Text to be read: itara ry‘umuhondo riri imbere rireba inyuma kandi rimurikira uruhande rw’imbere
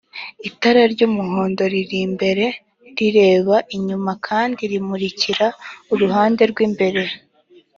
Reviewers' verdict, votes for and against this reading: accepted, 3, 0